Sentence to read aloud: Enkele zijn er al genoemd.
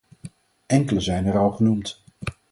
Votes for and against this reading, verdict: 4, 0, accepted